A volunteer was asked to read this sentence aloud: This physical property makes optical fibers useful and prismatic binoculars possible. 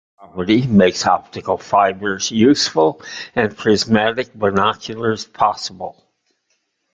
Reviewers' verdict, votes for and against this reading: rejected, 0, 2